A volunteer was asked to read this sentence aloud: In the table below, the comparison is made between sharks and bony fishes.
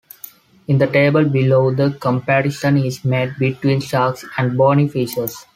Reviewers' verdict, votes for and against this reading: accepted, 2, 0